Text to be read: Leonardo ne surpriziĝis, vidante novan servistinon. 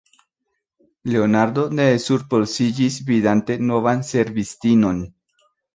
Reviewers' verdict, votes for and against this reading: rejected, 0, 2